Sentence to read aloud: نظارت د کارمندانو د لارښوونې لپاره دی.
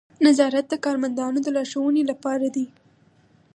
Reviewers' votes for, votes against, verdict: 4, 0, accepted